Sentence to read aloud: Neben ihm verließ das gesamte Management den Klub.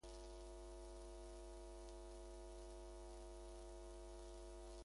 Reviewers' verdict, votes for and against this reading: rejected, 0, 2